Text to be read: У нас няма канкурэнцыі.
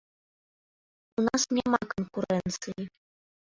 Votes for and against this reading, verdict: 0, 2, rejected